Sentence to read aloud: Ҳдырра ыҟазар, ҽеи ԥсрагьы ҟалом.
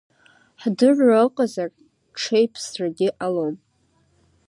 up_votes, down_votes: 0, 2